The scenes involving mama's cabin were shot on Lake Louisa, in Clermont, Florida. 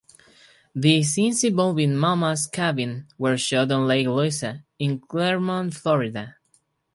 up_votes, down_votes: 4, 0